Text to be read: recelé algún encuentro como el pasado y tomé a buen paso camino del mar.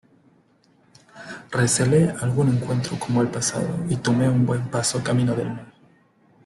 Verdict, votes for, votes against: rejected, 0, 2